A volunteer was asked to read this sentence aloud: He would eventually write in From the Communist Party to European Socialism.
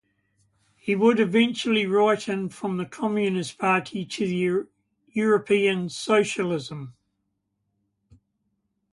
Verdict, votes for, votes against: rejected, 1, 2